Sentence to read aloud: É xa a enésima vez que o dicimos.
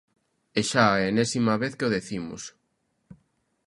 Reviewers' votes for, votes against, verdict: 0, 2, rejected